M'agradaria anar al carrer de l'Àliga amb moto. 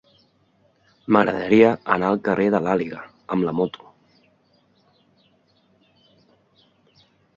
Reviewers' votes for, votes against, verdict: 0, 2, rejected